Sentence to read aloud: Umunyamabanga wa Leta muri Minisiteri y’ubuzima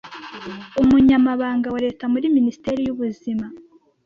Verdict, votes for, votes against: accepted, 2, 0